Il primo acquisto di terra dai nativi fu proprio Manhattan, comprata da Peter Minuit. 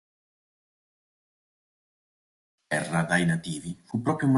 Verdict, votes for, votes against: rejected, 0, 2